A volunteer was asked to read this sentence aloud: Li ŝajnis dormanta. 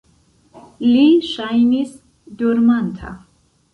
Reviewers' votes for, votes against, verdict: 0, 2, rejected